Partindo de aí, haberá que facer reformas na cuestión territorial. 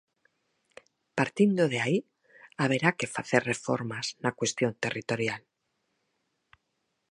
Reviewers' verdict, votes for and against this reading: accepted, 4, 0